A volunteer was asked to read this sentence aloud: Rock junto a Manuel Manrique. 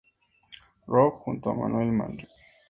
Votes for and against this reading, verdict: 0, 2, rejected